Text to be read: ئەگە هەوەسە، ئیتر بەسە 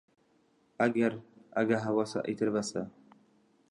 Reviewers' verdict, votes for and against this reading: rejected, 1, 2